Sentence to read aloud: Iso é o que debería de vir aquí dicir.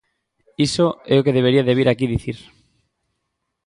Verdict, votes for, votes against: accepted, 2, 0